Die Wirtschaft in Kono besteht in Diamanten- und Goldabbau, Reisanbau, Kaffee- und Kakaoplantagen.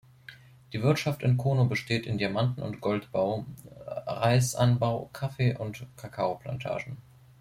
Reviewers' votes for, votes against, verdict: 0, 3, rejected